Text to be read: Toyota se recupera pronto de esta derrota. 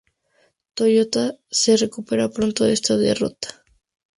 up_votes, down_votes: 4, 0